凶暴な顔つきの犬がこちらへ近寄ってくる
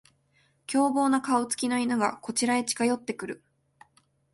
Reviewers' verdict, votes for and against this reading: accepted, 4, 0